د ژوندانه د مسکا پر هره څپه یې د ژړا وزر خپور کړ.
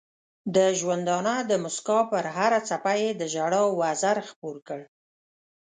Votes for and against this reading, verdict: 3, 0, accepted